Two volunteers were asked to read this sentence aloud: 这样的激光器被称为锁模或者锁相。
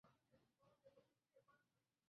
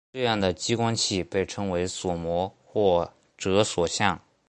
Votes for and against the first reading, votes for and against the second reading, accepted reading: 0, 2, 4, 0, second